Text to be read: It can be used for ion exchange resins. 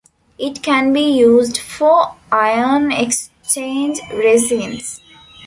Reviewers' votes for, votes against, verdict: 0, 2, rejected